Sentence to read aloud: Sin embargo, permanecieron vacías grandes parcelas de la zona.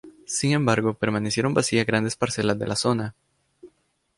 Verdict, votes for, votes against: accepted, 2, 0